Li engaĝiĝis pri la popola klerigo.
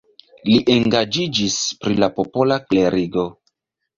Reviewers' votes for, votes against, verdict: 3, 1, accepted